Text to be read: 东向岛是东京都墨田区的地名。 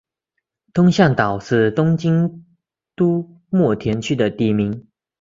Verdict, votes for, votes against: accepted, 6, 0